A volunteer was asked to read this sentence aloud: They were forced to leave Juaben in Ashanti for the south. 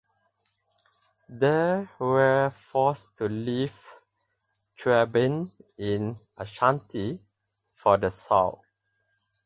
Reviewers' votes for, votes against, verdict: 0, 4, rejected